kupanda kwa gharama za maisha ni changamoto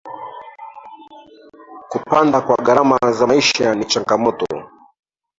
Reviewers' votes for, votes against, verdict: 1, 2, rejected